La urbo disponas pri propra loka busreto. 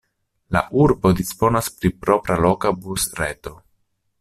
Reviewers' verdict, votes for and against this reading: accepted, 2, 0